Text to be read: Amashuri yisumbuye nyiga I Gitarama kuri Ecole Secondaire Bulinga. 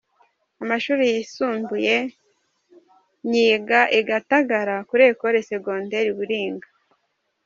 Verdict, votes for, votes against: rejected, 1, 2